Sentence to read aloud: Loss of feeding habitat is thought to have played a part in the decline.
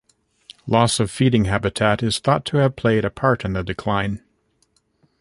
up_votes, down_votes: 2, 0